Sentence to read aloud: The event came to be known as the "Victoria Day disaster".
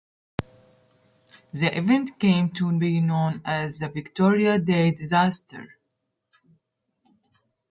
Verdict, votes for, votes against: accepted, 2, 0